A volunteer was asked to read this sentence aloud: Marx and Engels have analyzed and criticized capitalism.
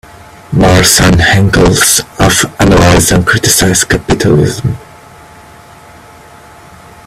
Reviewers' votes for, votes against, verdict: 1, 2, rejected